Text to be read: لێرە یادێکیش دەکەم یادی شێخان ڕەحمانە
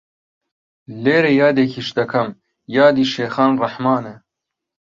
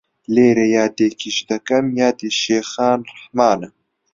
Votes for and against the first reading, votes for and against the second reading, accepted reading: 2, 0, 1, 2, first